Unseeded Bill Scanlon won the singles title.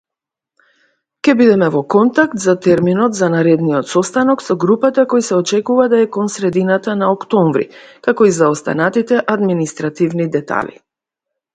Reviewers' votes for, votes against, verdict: 0, 3, rejected